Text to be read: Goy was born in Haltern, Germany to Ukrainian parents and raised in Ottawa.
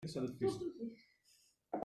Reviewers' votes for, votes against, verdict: 0, 2, rejected